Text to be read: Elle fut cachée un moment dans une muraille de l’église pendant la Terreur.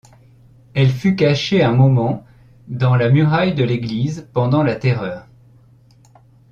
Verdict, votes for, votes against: rejected, 0, 2